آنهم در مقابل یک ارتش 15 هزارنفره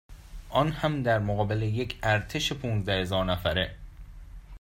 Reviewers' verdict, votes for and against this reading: rejected, 0, 2